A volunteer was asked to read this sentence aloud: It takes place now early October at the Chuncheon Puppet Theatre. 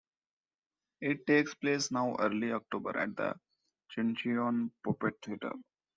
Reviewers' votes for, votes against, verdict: 2, 1, accepted